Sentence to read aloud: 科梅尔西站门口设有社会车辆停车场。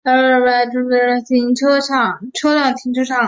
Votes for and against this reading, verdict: 0, 3, rejected